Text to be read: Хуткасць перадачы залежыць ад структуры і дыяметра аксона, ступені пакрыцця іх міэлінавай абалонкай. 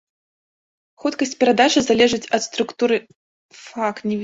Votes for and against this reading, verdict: 1, 2, rejected